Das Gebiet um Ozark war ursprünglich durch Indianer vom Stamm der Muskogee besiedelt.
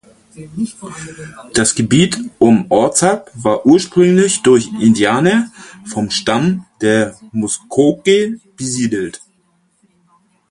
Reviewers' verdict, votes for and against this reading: rejected, 0, 4